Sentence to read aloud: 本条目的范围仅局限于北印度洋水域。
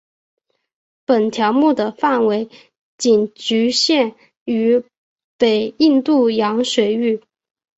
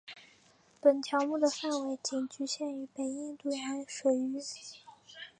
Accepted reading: second